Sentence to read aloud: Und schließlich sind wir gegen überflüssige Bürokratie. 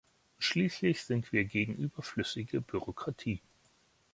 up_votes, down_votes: 1, 2